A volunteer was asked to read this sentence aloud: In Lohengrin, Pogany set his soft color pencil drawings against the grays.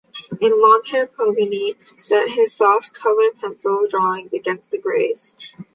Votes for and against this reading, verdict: 1, 2, rejected